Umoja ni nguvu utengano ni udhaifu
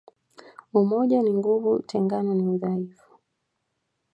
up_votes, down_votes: 2, 0